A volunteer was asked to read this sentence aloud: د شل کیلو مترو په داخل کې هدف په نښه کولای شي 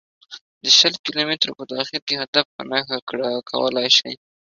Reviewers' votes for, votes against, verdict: 2, 1, accepted